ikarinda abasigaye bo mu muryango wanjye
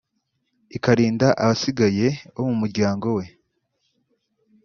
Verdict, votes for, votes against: rejected, 0, 2